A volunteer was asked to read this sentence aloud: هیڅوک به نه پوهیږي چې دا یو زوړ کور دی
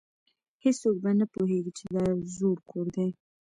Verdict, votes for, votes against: accepted, 2, 0